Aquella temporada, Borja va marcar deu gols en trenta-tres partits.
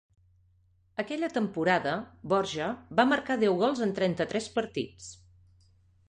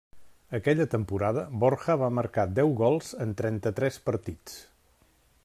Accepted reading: first